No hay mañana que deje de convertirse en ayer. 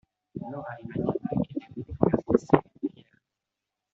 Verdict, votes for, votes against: rejected, 1, 2